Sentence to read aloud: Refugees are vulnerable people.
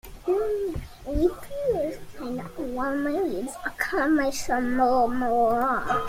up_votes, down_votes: 0, 2